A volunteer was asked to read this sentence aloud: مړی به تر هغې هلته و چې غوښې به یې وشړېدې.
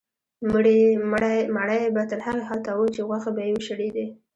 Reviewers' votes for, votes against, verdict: 1, 2, rejected